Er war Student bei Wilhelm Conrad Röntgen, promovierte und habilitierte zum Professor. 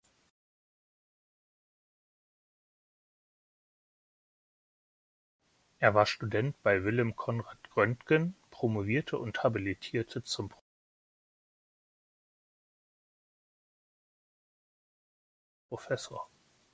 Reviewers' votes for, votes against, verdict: 0, 2, rejected